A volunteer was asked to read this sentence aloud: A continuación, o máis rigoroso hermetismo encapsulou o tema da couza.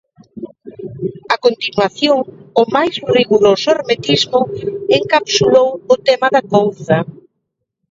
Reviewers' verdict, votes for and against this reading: rejected, 1, 2